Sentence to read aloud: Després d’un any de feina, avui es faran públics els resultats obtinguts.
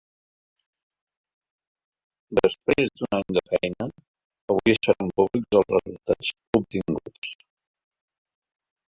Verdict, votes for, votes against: rejected, 0, 2